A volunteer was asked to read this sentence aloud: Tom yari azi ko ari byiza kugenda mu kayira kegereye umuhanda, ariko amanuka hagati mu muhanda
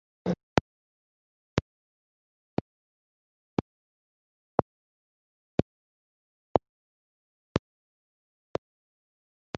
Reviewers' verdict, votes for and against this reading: rejected, 0, 2